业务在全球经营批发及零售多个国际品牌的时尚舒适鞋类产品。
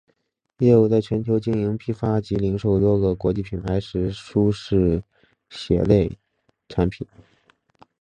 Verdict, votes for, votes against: accepted, 4, 1